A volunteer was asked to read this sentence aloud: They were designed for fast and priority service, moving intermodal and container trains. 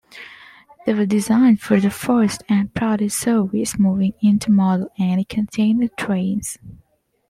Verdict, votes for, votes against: rejected, 1, 2